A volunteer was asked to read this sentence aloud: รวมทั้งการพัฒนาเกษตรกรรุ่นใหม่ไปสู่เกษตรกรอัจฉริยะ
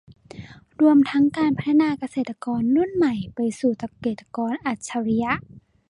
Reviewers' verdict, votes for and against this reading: rejected, 1, 2